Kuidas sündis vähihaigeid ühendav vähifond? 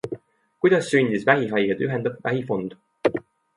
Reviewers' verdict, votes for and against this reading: accepted, 2, 0